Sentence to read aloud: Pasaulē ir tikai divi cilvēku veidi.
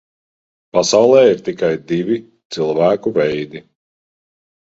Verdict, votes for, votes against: accepted, 3, 0